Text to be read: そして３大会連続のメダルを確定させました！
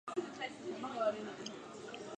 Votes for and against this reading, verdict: 0, 2, rejected